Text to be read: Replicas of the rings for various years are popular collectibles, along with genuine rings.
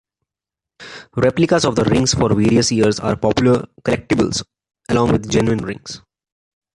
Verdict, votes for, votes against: accepted, 2, 0